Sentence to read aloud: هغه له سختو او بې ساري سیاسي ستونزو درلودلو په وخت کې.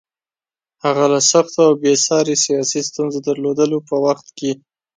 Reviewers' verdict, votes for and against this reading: accepted, 2, 0